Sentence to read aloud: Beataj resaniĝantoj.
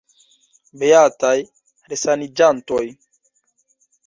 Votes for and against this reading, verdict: 1, 2, rejected